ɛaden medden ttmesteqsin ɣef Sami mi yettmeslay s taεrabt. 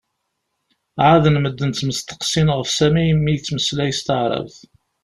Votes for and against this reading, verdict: 2, 0, accepted